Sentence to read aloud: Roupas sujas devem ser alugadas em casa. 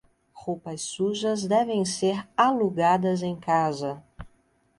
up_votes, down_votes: 2, 0